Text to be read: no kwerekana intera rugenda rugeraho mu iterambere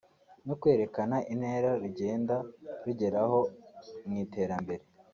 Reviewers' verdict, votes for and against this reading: accepted, 2, 0